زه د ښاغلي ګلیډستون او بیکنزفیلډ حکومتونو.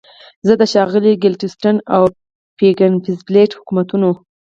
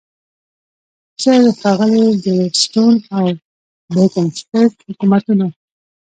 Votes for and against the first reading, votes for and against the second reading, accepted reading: 4, 0, 1, 2, first